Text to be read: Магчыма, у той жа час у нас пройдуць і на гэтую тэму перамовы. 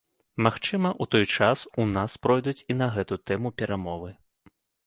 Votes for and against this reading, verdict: 1, 2, rejected